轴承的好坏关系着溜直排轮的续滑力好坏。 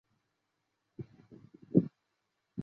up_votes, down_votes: 2, 8